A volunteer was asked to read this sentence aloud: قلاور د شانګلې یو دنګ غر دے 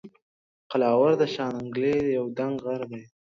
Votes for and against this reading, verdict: 2, 0, accepted